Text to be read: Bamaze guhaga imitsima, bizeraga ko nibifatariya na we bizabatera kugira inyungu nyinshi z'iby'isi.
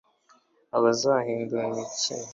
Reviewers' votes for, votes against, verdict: 1, 2, rejected